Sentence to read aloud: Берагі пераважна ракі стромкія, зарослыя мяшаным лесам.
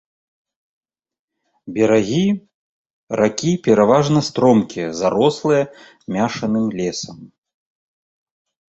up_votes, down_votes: 0, 2